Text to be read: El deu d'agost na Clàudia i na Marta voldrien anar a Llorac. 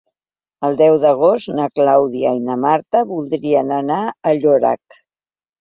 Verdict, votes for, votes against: accepted, 3, 0